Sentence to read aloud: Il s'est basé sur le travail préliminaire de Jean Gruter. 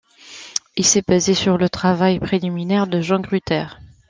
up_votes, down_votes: 2, 0